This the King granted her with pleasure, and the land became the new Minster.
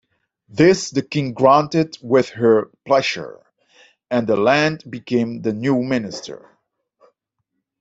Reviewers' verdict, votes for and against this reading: rejected, 1, 2